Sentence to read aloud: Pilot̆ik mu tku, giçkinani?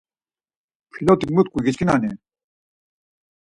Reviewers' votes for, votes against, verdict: 4, 0, accepted